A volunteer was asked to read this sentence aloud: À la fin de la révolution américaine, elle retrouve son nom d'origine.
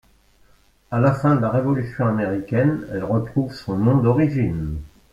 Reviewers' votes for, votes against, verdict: 2, 0, accepted